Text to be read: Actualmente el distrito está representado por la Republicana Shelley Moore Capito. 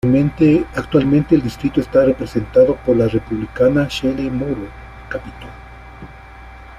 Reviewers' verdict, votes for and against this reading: rejected, 1, 2